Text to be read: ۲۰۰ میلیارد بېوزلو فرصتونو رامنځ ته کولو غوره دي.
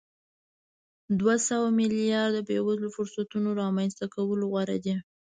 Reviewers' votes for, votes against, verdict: 0, 2, rejected